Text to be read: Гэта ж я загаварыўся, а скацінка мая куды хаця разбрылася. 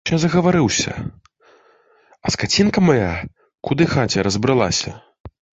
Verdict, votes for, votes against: rejected, 0, 2